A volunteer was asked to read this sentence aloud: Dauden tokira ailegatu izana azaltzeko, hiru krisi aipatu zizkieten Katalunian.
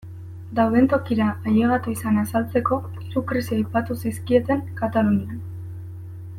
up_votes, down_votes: 2, 0